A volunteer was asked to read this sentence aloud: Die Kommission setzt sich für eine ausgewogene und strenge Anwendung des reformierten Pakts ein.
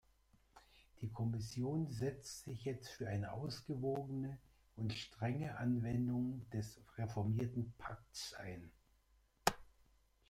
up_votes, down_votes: 1, 2